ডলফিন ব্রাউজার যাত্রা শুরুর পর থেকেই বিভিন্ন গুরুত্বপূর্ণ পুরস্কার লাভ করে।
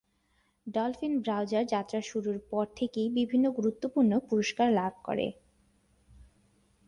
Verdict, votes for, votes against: accepted, 6, 0